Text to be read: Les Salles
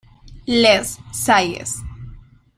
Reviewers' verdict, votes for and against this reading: accepted, 2, 1